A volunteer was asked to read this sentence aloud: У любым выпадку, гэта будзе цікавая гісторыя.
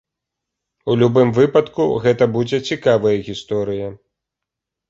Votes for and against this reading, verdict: 3, 0, accepted